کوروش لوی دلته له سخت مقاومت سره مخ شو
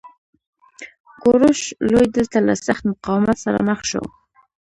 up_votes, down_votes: 1, 2